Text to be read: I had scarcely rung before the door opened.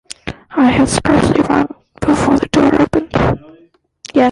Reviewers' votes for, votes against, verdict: 0, 2, rejected